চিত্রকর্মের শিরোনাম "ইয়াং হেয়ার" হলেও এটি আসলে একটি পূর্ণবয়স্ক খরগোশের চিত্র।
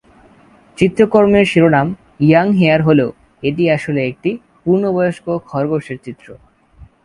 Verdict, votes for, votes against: accepted, 2, 0